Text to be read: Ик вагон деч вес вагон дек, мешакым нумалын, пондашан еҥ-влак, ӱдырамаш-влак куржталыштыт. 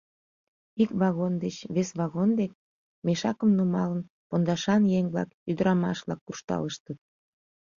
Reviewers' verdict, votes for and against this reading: accepted, 2, 0